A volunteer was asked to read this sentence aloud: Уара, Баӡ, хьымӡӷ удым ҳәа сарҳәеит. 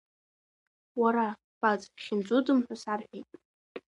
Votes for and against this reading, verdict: 2, 1, accepted